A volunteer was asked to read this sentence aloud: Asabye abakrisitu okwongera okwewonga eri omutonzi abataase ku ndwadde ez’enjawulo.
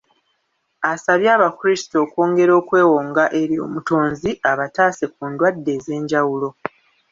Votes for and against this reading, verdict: 1, 2, rejected